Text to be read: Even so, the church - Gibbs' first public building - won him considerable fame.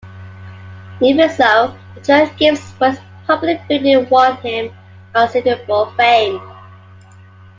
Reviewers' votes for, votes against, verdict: 1, 2, rejected